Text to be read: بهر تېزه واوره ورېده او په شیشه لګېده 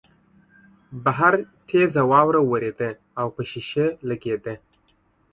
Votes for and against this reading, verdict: 2, 0, accepted